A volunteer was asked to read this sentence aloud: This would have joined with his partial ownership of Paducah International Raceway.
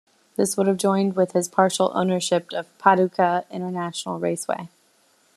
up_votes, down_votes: 2, 1